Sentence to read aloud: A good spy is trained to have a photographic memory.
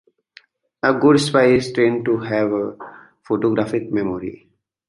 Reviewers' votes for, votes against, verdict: 3, 1, accepted